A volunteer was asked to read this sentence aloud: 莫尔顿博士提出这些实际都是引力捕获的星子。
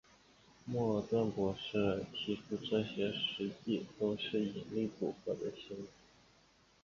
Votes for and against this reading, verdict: 3, 0, accepted